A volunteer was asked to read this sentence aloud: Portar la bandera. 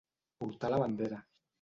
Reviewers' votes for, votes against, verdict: 2, 0, accepted